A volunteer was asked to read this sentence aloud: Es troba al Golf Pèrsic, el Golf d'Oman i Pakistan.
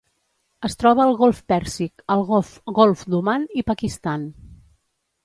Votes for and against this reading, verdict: 0, 2, rejected